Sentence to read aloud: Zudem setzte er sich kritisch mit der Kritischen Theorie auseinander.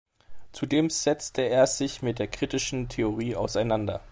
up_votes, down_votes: 1, 2